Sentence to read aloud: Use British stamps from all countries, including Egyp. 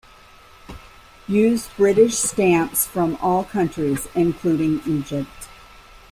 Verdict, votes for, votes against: rejected, 0, 2